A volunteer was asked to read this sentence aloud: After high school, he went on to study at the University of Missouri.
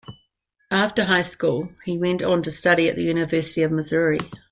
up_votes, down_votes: 2, 0